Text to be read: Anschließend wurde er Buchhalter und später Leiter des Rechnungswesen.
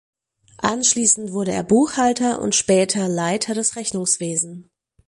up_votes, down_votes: 4, 0